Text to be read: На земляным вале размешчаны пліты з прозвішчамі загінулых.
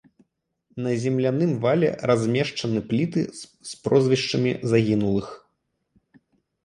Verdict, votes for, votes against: accepted, 2, 0